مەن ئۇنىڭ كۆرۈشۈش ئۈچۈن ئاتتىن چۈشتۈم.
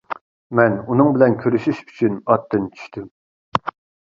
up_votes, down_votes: 0, 2